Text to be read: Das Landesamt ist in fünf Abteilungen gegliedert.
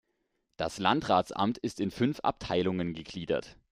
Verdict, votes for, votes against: rejected, 0, 2